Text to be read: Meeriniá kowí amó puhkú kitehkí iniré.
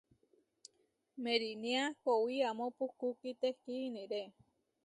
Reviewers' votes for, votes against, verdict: 2, 0, accepted